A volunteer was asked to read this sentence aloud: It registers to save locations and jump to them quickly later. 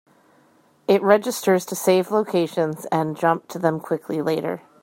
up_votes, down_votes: 2, 0